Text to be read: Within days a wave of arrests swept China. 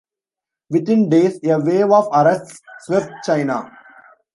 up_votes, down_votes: 1, 2